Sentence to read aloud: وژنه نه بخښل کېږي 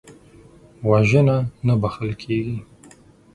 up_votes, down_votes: 6, 0